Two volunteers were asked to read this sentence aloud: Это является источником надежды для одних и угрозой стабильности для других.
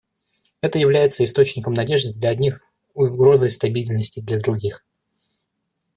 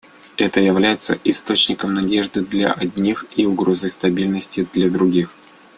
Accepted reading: second